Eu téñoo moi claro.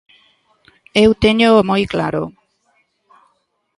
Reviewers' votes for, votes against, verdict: 2, 0, accepted